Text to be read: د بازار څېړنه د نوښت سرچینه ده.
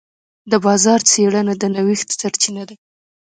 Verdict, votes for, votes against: rejected, 0, 2